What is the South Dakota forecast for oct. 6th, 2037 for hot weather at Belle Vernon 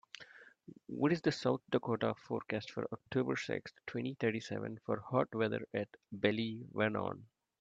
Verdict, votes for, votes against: rejected, 0, 2